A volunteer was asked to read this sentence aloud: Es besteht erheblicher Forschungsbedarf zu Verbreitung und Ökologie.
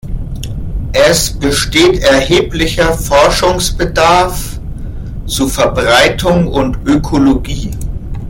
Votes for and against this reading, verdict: 1, 2, rejected